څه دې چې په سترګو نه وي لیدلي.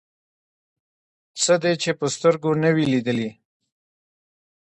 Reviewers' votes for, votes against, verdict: 1, 2, rejected